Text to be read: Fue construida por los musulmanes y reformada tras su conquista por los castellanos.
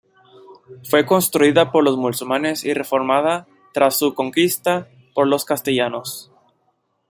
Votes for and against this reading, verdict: 1, 2, rejected